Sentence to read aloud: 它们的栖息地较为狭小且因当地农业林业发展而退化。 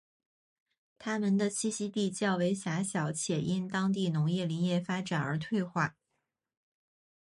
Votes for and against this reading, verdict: 5, 2, accepted